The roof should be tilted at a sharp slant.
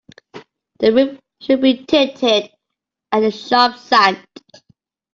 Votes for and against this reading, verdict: 0, 2, rejected